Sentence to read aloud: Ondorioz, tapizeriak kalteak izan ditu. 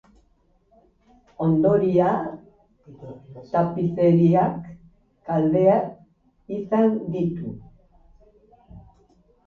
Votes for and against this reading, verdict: 0, 3, rejected